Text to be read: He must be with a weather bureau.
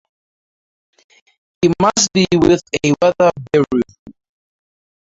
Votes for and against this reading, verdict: 0, 4, rejected